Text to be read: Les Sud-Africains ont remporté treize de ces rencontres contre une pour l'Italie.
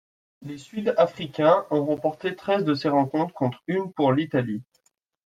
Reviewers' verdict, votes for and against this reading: accepted, 2, 0